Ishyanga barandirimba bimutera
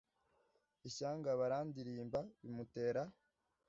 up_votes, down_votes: 2, 0